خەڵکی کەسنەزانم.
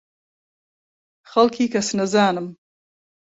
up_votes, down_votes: 2, 0